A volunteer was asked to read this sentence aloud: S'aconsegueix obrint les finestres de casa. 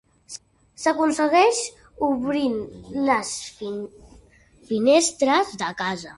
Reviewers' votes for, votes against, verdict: 0, 4, rejected